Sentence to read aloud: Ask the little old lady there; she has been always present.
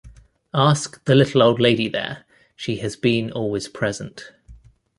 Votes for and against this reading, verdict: 2, 0, accepted